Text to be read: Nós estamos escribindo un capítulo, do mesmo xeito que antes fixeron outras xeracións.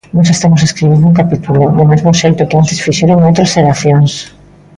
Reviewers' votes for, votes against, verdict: 1, 2, rejected